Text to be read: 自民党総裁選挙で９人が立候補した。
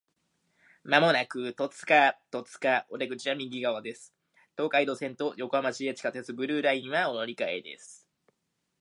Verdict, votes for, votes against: rejected, 0, 2